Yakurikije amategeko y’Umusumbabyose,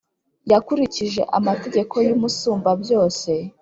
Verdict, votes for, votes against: accepted, 3, 0